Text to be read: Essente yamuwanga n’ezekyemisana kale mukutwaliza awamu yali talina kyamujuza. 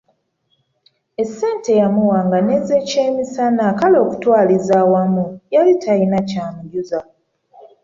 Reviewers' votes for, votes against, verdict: 1, 2, rejected